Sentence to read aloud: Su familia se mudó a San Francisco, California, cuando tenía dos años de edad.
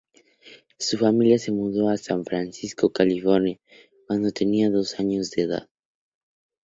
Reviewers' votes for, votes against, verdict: 2, 0, accepted